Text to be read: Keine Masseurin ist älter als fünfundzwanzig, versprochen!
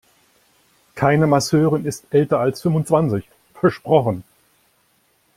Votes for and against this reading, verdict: 3, 0, accepted